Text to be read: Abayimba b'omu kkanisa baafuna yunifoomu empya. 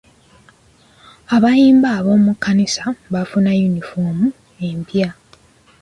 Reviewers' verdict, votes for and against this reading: rejected, 0, 2